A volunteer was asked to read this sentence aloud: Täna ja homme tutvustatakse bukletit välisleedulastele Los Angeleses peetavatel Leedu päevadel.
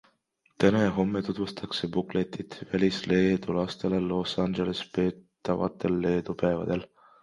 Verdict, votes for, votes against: rejected, 1, 2